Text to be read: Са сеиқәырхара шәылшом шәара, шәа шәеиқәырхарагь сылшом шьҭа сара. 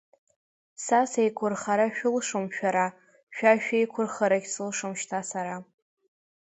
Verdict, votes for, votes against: accepted, 3, 1